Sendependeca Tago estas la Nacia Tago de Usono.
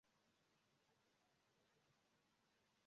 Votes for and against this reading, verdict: 1, 2, rejected